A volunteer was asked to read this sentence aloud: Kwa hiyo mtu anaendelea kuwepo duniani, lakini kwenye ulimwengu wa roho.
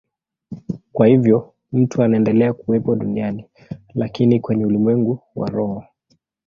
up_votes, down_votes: 0, 2